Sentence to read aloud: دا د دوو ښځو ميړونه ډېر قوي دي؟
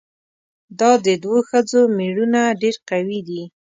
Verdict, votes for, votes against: accepted, 3, 0